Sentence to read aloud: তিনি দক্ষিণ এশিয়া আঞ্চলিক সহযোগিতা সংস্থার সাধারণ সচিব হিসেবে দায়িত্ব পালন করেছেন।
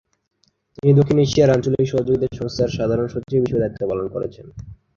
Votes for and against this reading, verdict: 7, 0, accepted